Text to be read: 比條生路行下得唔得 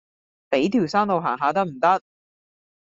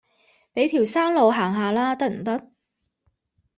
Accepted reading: first